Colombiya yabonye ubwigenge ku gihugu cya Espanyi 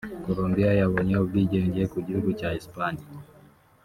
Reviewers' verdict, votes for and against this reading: rejected, 0, 2